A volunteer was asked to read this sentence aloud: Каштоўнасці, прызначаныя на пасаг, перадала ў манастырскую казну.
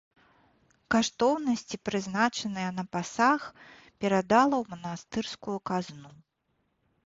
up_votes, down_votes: 2, 0